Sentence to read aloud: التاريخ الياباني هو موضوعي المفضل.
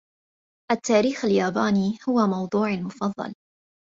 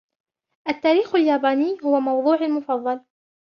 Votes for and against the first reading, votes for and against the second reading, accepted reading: 1, 2, 2, 0, second